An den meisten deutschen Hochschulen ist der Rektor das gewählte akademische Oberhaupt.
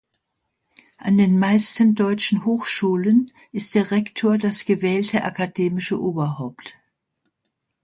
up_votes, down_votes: 2, 0